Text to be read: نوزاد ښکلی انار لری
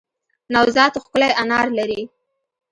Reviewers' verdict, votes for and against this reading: rejected, 1, 2